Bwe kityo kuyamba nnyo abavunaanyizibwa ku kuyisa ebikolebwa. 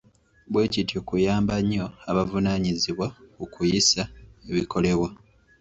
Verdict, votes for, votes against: rejected, 1, 2